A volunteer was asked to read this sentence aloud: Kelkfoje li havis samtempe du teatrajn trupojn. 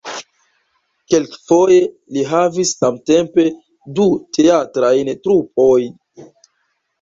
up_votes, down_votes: 0, 2